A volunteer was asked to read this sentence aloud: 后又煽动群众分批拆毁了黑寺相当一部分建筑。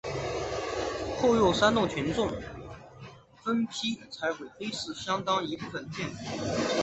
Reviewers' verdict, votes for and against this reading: rejected, 0, 5